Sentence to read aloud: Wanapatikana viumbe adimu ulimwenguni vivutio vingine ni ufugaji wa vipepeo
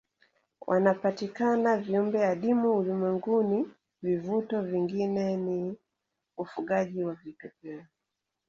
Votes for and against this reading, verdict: 1, 2, rejected